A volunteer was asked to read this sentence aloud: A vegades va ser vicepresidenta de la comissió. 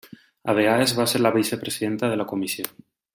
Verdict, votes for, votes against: rejected, 1, 2